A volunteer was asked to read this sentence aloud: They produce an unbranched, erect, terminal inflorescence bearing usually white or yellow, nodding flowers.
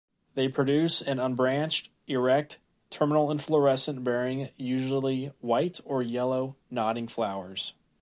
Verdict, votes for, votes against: accepted, 2, 0